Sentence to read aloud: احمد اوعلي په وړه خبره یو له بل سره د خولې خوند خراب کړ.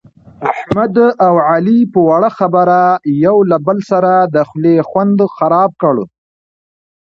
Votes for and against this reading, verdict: 2, 0, accepted